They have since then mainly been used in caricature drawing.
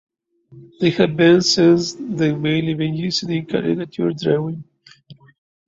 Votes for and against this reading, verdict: 0, 2, rejected